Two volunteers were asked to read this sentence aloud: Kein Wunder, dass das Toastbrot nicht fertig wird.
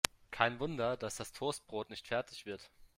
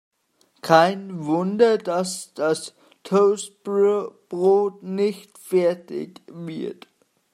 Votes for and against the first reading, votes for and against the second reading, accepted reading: 2, 0, 1, 2, first